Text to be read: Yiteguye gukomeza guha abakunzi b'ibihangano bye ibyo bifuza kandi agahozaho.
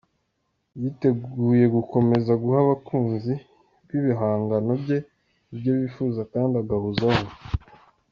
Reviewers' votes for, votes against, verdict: 2, 0, accepted